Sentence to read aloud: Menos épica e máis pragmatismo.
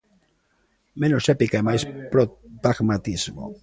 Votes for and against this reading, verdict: 0, 2, rejected